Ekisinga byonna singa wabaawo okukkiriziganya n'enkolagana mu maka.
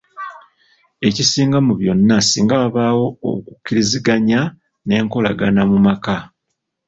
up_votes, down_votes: 0, 2